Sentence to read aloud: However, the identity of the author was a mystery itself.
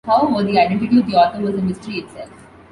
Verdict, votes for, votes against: accepted, 2, 0